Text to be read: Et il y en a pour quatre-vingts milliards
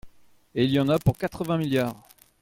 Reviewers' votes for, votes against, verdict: 2, 0, accepted